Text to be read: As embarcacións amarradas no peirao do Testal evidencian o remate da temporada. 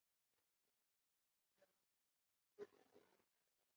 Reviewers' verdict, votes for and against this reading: rejected, 0, 2